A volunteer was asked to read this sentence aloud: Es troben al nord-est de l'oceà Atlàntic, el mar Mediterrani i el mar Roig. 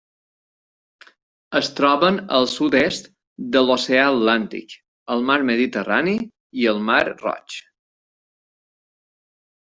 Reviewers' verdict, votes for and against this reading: rejected, 0, 2